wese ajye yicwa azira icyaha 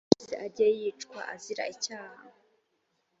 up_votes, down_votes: 1, 2